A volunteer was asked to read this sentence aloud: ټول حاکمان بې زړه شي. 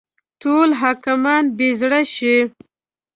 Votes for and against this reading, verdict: 2, 0, accepted